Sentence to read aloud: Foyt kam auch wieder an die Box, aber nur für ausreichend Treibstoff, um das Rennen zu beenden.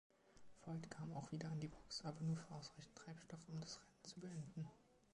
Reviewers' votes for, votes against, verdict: 1, 2, rejected